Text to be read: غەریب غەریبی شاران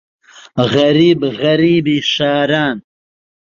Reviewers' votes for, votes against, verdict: 1, 2, rejected